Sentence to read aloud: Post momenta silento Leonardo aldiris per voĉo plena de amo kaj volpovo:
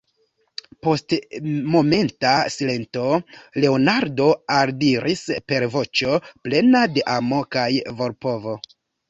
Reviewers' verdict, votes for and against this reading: accepted, 2, 0